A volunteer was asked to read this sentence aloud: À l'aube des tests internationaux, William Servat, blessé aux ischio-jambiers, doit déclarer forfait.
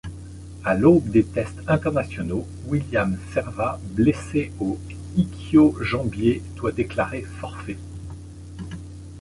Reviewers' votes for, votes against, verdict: 0, 2, rejected